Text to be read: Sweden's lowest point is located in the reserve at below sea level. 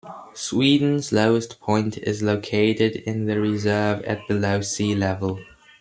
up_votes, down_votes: 0, 2